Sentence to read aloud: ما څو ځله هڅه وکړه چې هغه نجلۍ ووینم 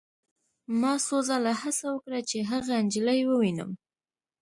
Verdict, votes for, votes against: accepted, 2, 1